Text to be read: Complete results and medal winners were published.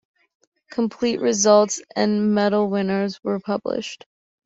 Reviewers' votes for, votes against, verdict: 2, 0, accepted